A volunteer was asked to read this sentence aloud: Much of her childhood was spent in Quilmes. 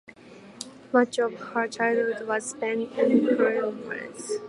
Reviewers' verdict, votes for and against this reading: accepted, 3, 1